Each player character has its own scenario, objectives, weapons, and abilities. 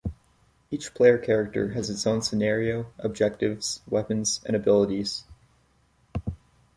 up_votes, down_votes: 2, 0